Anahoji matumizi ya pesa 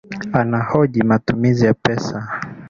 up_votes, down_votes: 2, 0